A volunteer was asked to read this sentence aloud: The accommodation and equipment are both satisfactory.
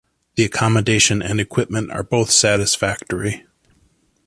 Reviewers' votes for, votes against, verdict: 2, 0, accepted